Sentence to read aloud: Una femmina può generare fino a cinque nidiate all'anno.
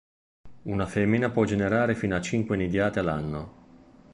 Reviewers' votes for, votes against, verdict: 1, 2, rejected